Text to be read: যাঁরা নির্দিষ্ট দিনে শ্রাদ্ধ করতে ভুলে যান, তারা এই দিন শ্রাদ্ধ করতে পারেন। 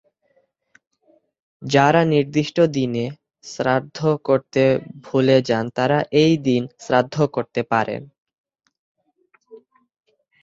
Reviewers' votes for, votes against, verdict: 0, 2, rejected